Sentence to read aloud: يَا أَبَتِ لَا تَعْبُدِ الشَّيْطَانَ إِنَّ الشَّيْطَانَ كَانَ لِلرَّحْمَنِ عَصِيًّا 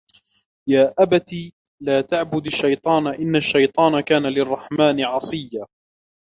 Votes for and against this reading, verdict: 1, 2, rejected